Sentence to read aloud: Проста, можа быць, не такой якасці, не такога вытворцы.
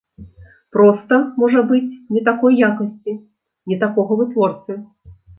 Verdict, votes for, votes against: accepted, 3, 0